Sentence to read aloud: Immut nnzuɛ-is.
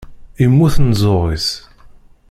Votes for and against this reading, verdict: 1, 2, rejected